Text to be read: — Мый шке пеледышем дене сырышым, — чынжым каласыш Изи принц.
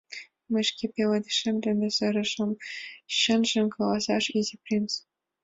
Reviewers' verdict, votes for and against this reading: accepted, 2, 0